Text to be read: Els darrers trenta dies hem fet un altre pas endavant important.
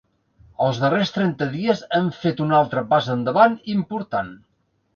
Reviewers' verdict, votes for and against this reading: accepted, 4, 0